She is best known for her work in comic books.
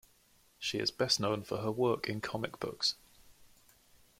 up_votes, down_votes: 3, 0